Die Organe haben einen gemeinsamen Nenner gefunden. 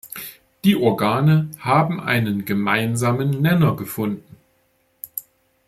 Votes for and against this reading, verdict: 1, 2, rejected